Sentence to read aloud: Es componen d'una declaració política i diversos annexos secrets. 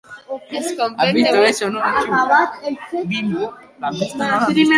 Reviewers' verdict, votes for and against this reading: rejected, 1, 2